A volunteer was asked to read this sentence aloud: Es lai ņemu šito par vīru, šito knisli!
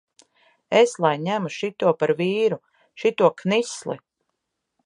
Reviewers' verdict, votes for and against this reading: accepted, 2, 0